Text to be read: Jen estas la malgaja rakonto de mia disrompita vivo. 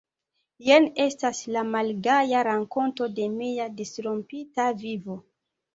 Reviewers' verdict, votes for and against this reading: rejected, 0, 2